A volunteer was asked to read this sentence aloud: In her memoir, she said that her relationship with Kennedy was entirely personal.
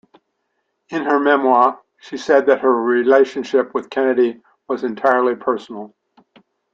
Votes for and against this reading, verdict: 2, 0, accepted